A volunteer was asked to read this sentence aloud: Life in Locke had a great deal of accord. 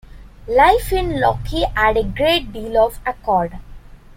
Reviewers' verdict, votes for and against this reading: accepted, 2, 1